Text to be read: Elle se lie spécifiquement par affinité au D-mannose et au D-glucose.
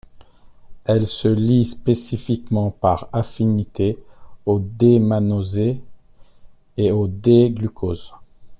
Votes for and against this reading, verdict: 1, 2, rejected